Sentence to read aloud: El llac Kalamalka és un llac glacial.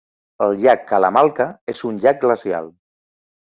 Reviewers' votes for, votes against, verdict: 2, 0, accepted